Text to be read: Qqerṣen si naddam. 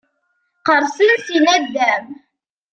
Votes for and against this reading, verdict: 2, 1, accepted